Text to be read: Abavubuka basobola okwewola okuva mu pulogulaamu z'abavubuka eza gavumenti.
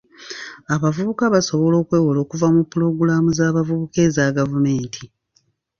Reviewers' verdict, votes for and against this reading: accepted, 2, 1